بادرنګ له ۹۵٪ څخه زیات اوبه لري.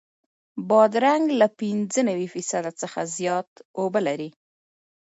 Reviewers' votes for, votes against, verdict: 0, 2, rejected